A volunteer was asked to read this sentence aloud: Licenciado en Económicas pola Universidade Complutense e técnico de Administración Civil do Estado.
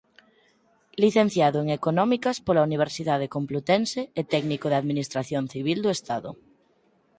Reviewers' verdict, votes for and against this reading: accepted, 4, 0